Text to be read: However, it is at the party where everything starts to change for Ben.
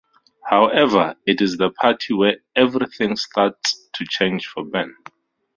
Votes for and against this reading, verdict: 0, 2, rejected